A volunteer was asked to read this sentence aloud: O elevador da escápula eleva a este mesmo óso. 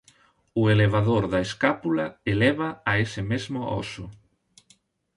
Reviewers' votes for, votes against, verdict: 0, 2, rejected